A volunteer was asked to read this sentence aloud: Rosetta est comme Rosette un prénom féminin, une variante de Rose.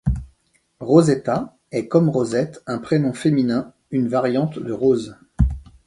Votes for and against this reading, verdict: 2, 0, accepted